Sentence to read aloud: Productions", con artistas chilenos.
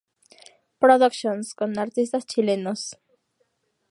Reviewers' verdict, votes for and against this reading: accepted, 2, 0